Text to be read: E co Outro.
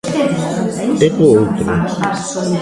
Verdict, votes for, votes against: rejected, 0, 2